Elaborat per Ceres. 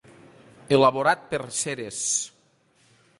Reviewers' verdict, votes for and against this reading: accepted, 2, 0